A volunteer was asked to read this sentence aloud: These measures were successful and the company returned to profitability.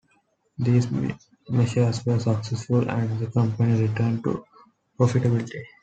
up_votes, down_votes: 2, 1